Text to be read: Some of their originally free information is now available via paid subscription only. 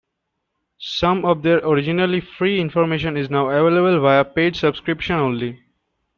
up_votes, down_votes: 0, 2